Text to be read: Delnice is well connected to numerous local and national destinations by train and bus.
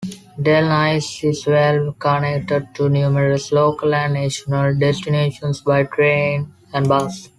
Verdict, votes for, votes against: accepted, 2, 0